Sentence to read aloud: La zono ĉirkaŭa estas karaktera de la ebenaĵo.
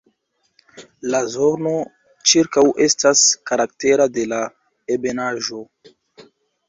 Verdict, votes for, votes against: rejected, 2, 3